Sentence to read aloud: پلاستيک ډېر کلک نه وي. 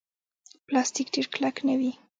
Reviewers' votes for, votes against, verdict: 2, 0, accepted